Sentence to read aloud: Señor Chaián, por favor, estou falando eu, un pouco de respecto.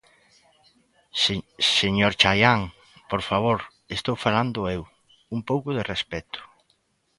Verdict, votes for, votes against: rejected, 0, 2